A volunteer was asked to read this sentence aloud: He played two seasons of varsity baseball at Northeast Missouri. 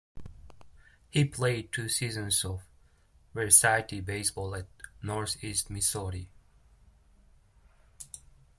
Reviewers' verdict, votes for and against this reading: rejected, 0, 2